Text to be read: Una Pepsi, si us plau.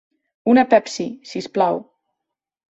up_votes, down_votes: 2, 3